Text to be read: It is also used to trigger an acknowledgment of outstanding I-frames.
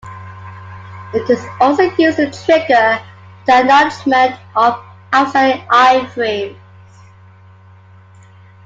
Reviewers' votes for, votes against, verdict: 0, 2, rejected